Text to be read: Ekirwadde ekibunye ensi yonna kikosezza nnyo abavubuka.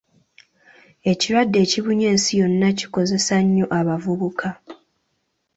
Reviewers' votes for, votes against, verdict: 1, 2, rejected